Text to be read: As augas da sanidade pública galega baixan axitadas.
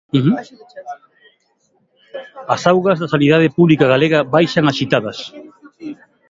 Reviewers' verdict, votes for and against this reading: rejected, 1, 2